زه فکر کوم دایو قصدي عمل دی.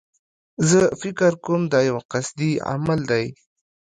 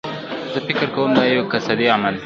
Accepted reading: first